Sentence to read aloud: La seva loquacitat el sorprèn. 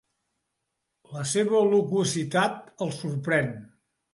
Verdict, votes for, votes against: accepted, 2, 0